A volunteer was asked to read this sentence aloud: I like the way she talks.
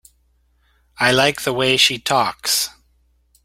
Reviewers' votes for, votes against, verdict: 2, 0, accepted